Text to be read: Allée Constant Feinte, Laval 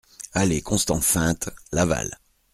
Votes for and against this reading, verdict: 2, 0, accepted